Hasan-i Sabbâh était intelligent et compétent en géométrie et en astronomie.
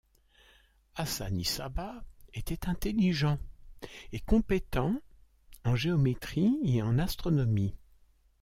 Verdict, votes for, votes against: accepted, 2, 0